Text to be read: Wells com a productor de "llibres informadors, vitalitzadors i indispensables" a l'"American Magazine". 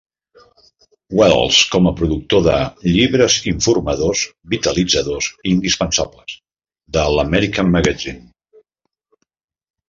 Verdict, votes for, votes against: rejected, 1, 2